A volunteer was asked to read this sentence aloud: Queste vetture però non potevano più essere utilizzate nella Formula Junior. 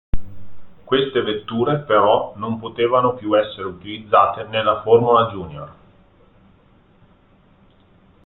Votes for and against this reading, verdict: 2, 1, accepted